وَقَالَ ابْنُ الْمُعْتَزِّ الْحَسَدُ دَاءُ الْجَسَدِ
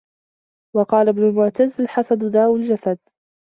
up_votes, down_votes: 2, 0